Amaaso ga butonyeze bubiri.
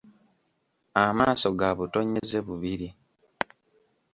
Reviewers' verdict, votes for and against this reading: accepted, 2, 0